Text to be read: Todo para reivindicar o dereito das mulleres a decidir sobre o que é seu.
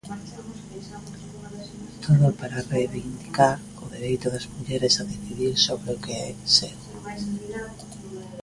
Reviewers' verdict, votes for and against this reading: rejected, 1, 2